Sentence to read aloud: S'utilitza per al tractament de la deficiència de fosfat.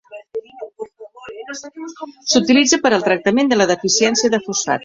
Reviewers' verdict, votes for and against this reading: rejected, 1, 2